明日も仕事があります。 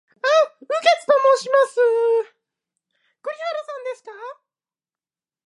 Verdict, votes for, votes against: rejected, 0, 2